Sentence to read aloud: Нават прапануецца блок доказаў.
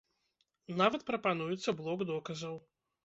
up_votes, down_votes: 2, 0